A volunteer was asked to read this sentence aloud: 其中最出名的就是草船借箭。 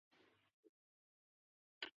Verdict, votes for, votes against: rejected, 0, 3